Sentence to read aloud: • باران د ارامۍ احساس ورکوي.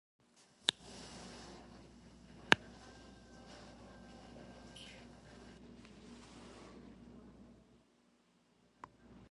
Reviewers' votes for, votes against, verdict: 0, 2, rejected